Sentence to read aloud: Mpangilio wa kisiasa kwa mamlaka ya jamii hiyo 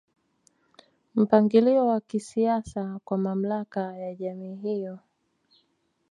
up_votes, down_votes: 2, 0